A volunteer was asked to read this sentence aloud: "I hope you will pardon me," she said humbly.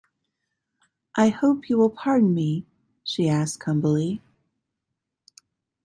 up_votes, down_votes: 0, 2